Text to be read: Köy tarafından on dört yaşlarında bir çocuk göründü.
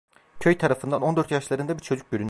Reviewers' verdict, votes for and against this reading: rejected, 1, 2